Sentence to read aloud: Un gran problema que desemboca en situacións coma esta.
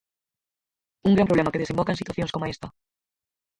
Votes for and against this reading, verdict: 0, 4, rejected